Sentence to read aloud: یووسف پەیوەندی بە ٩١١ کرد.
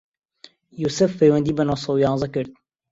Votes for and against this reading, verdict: 0, 2, rejected